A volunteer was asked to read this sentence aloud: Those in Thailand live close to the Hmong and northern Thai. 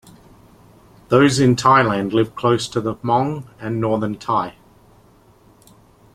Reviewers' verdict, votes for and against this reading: accepted, 2, 0